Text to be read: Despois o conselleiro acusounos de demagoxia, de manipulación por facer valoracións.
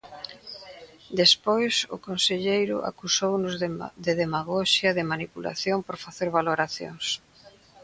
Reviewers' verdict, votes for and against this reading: rejected, 0, 2